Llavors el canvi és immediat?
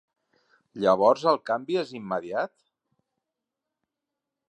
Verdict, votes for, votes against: accepted, 3, 0